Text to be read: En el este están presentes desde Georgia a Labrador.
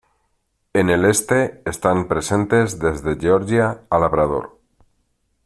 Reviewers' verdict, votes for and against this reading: accepted, 2, 1